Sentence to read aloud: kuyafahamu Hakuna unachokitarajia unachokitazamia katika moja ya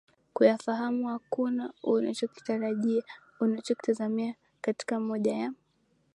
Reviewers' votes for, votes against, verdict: 3, 1, accepted